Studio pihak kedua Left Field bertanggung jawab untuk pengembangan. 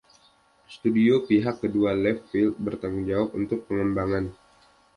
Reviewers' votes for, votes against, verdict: 2, 0, accepted